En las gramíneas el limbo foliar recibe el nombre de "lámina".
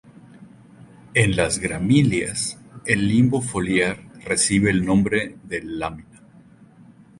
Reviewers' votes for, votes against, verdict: 2, 0, accepted